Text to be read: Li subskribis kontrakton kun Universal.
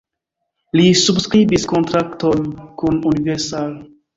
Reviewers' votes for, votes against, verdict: 2, 1, accepted